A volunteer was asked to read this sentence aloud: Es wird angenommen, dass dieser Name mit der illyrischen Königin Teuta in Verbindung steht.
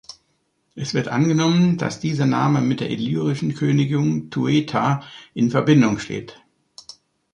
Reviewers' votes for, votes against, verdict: 1, 2, rejected